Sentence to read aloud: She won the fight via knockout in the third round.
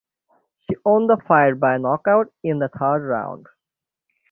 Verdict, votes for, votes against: accepted, 6, 3